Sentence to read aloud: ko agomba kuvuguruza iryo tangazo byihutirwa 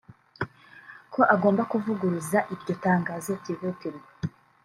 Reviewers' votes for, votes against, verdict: 2, 0, accepted